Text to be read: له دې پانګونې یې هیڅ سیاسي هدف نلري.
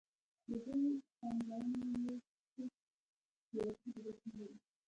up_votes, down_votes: 0, 2